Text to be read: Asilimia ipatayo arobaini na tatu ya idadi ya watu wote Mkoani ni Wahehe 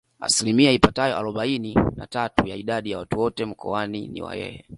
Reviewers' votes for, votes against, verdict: 2, 0, accepted